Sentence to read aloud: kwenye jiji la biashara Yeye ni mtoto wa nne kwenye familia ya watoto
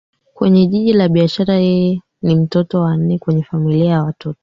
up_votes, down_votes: 1, 2